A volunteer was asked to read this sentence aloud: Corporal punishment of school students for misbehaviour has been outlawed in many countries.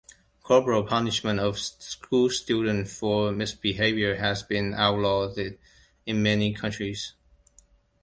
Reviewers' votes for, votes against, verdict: 1, 2, rejected